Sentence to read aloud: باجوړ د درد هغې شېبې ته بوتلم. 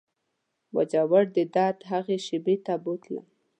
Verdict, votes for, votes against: accepted, 2, 0